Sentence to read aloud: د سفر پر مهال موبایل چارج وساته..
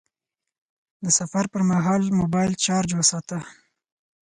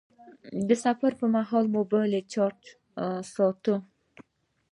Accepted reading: first